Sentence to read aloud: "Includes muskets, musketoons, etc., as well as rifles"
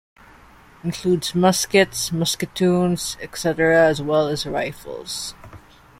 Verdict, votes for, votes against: accepted, 2, 0